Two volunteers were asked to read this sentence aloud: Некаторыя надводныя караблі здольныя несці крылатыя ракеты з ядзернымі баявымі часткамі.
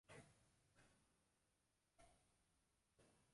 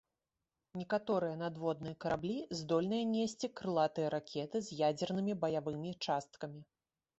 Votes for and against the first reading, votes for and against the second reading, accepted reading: 0, 2, 3, 1, second